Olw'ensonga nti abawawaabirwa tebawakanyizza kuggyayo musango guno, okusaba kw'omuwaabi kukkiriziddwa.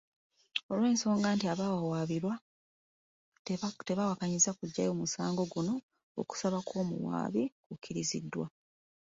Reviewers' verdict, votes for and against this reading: rejected, 0, 2